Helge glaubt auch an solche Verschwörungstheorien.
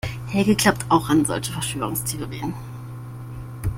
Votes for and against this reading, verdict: 2, 0, accepted